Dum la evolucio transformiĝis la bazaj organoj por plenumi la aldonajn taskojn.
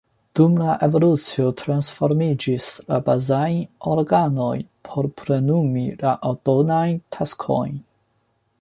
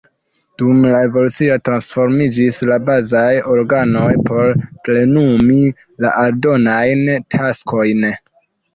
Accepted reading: first